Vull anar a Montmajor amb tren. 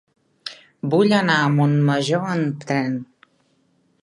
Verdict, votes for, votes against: rejected, 1, 2